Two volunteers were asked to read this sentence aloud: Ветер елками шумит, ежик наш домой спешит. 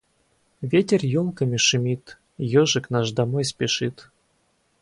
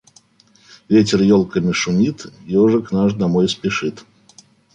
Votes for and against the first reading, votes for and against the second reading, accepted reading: 2, 2, 2, 0, second